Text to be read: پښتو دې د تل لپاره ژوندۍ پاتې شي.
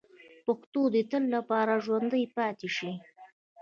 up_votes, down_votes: 1, 2